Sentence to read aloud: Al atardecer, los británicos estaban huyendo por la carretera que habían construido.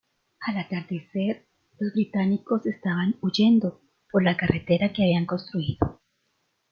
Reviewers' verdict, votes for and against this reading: rejected, 1, 2